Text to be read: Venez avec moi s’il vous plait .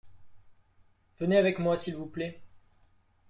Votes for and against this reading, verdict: 2, 0, accepted